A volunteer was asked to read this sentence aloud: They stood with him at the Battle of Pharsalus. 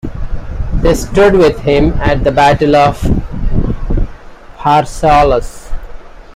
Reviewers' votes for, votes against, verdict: 2, 0, accepted